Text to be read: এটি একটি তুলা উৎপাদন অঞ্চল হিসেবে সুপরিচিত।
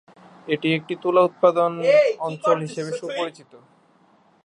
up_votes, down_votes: 6, 10